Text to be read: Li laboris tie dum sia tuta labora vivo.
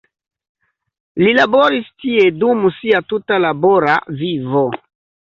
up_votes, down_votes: 2, 0